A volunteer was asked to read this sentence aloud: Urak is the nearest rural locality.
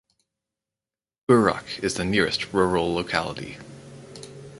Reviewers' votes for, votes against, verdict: 0, 2, rejected